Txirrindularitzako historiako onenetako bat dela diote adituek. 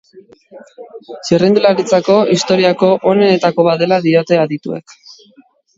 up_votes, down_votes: 2, 0